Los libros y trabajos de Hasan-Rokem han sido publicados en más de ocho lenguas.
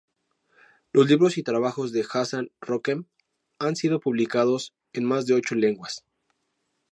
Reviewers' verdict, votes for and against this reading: accepted, 4, 0